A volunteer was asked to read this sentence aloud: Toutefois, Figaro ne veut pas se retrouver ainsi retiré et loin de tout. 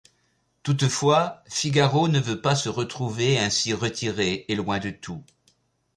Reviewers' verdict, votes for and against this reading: accepted, 2, 0